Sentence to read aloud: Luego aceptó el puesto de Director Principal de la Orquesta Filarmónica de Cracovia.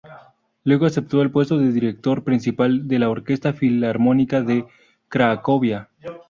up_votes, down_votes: 0, 2